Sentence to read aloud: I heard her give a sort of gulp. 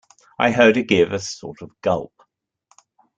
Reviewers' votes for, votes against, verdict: 3, 2, accepted